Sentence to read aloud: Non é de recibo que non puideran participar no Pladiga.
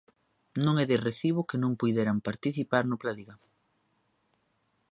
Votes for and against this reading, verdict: 2, 0, accepted